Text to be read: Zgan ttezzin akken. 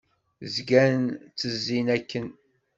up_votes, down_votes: 2, 0